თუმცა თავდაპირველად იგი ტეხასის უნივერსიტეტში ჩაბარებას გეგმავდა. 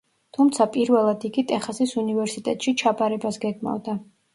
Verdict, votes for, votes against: rejected, 1, 2